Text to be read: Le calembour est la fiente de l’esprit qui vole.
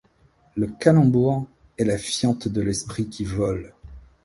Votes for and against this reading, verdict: 0, 2, rejected